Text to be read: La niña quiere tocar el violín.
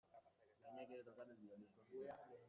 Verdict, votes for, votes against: rejected, 0, 2